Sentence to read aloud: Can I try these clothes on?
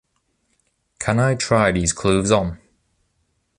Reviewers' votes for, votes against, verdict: 2, 0, accepted